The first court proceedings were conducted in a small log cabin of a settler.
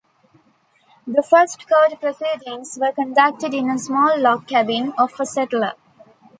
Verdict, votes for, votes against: accepted, 2, 0